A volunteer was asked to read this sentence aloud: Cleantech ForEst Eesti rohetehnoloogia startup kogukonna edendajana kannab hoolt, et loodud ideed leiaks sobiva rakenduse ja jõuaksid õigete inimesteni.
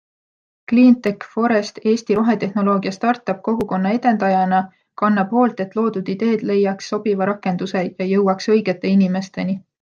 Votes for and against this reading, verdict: 0, 2, rejected